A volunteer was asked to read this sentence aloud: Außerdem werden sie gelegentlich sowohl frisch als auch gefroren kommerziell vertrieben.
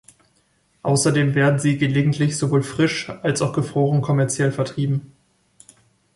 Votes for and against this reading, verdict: 2, 0, accepted